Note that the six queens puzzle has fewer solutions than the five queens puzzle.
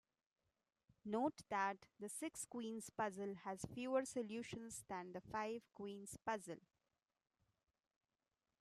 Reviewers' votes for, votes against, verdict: 2, 1, accepted